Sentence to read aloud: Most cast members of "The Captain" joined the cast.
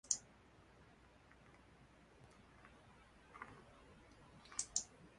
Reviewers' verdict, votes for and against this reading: rejected, 0, 2